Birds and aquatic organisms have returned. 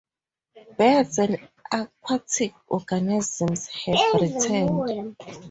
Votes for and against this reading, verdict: 0, 2, rejected